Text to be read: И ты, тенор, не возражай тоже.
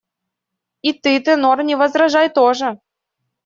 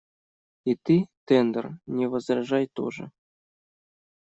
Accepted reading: first